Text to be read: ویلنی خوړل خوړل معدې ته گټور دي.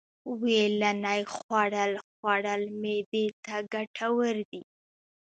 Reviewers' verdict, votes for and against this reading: rejected, 1, 2